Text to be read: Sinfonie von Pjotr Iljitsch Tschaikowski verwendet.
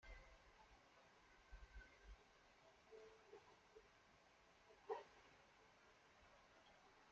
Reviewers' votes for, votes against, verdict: 0, 2, rejected